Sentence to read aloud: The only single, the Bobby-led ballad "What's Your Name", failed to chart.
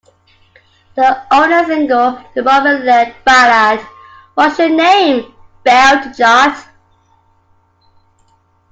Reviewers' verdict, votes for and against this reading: rejected, 0, 2